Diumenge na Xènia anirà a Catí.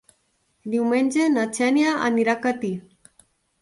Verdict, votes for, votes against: accepted, 3, 0